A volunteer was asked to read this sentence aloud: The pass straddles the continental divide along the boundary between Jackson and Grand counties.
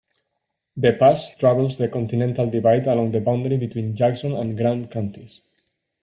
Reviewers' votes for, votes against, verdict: 2, 0, accepted